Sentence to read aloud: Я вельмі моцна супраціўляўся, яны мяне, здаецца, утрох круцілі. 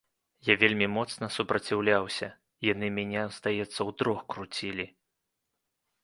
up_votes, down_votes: 2, 0